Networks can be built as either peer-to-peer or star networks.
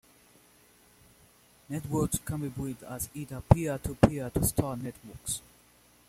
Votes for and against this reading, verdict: 0, 2, rejected